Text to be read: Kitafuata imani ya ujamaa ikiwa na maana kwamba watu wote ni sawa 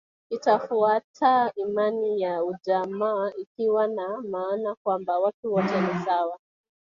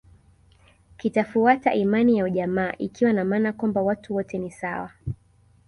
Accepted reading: second